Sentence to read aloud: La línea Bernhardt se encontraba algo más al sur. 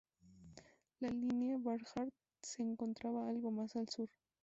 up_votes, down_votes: 0, 4